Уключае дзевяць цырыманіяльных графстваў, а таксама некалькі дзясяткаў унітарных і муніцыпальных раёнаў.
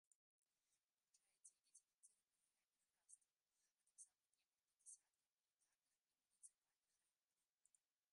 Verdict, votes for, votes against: rejected, 0, 2